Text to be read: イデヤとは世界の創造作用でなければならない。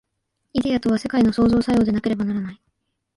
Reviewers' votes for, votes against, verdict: 1, 2, rejected